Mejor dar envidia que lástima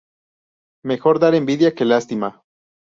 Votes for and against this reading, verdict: 2, 0, accepted